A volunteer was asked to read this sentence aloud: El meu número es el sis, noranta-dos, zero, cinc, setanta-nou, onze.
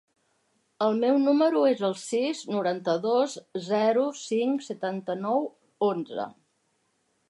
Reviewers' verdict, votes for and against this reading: accepted, 3, 0